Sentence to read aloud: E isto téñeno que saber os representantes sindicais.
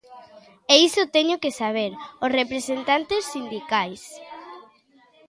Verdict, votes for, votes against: rejected, 0, 2